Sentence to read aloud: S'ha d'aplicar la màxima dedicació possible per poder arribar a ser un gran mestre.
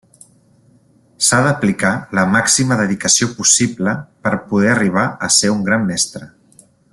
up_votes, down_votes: 3, 0